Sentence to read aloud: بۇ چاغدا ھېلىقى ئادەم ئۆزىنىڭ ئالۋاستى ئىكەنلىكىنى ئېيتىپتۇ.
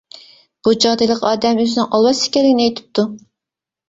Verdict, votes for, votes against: rejected, 1, 2